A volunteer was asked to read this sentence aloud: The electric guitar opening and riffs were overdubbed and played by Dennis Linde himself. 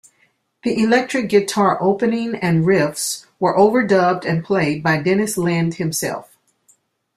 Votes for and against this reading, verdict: 2, 0, accepted